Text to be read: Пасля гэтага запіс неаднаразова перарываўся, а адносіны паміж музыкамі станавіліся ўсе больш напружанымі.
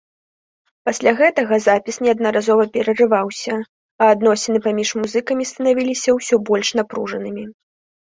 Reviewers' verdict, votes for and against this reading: accepted, 2, 0